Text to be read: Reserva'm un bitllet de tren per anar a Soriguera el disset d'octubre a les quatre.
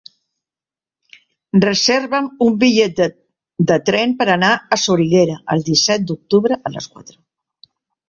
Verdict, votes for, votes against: rejected, 1, 2